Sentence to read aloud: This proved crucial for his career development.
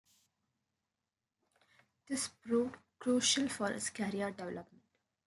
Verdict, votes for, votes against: accepted, 2, 0